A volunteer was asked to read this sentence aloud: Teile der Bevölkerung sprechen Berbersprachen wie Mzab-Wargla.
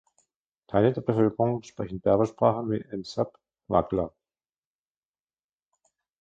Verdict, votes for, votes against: rejected, 0, 2